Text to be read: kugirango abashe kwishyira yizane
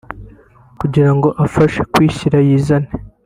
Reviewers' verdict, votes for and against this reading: rejected, 1, 2